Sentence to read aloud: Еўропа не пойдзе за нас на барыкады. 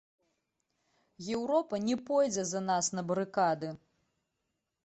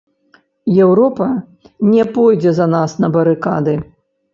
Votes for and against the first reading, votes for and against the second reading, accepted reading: 2, 1, 1, 2, first